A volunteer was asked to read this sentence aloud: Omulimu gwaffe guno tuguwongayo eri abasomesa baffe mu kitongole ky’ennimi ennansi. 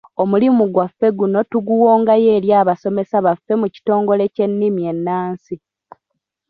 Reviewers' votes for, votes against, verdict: 3, 0, accepted